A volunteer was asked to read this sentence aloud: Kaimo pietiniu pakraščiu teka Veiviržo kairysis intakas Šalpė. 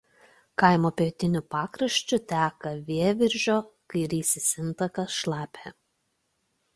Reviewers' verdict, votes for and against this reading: rejected, 1, 2